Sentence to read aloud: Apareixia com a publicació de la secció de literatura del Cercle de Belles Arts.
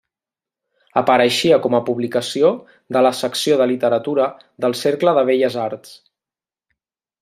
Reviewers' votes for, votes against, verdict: 3, 0, accepted